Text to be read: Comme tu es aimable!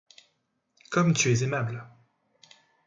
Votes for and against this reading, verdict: 2, 0, accepted